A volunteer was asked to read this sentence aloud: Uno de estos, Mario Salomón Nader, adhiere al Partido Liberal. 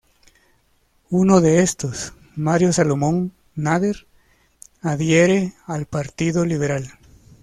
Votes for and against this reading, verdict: 2, 0, accepted